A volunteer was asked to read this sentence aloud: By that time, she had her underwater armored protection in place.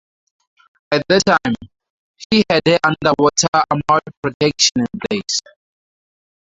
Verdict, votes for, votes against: rejected, 2, 2